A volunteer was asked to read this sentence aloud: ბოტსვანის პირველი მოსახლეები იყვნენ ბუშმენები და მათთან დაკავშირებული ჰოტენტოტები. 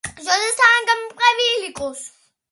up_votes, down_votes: 0, 2